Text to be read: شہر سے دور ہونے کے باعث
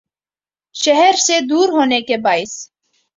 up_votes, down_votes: 2, 0